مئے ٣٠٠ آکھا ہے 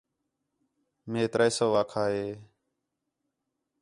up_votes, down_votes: 0, 2